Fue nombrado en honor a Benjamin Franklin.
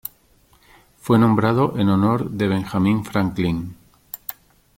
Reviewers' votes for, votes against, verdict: 0, 2, rejected